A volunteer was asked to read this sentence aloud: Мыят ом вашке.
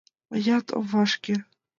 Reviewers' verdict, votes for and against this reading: accepted, 2, 1